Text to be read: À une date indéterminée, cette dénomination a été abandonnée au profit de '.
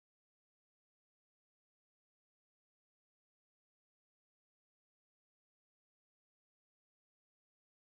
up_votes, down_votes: 0, 2